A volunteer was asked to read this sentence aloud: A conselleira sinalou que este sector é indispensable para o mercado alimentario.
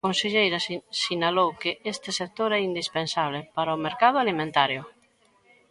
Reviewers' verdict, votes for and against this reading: rejected, 0, 2